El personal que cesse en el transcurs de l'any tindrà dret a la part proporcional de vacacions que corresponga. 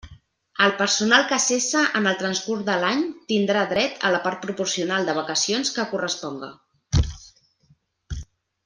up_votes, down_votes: 2, 0